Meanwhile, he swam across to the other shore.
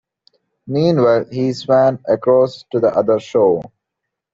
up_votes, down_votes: 2, 0